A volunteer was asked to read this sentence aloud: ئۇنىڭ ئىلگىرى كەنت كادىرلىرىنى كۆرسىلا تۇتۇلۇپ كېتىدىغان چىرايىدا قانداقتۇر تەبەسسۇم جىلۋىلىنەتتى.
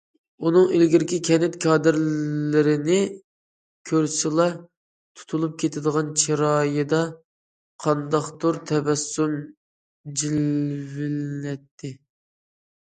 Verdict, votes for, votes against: rejected, 1, 2